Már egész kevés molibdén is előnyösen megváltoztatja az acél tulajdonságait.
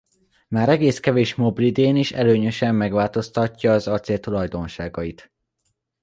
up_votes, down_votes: 0, 2